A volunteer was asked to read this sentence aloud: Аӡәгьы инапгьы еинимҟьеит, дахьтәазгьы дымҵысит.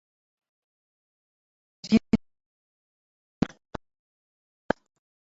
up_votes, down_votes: 0, 2